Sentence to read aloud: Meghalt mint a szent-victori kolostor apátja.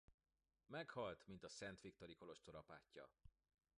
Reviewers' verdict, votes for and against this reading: accepted, 2, 0